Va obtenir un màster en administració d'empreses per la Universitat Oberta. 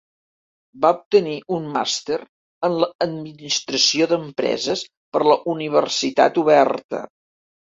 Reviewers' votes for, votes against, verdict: 0, 2, rejected